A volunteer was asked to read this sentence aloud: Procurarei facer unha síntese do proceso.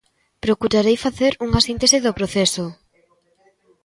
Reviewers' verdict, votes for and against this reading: accepted, 2, 0